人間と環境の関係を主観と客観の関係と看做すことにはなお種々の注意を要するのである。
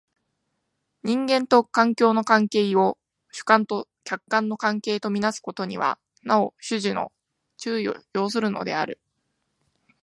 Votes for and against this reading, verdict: 2, 0, accepted